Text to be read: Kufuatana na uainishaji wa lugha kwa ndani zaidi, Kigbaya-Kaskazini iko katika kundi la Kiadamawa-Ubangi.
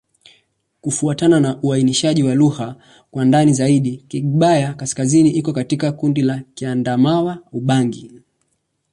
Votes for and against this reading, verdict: 2, 0, accepted